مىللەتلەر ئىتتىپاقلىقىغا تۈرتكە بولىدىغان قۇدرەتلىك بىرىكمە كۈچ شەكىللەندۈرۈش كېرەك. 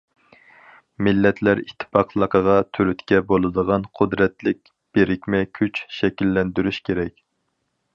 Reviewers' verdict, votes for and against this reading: accepted, 4, 0